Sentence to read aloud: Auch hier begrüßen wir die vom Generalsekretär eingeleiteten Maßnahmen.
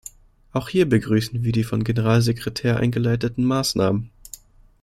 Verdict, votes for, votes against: rejected, 1, 2